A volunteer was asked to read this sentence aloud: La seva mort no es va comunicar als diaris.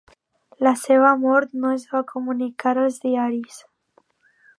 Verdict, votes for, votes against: accepted, 2, 0